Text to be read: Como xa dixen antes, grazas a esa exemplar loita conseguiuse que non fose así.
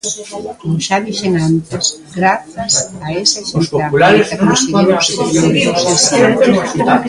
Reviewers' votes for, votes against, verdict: 0, 2, rejected